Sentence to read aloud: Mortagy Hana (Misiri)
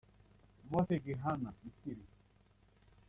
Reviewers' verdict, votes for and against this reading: rejected, 1, 2